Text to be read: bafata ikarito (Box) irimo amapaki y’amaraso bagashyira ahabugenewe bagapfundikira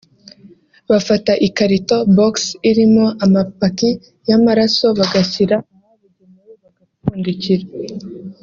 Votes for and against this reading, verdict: 4, 5, rejected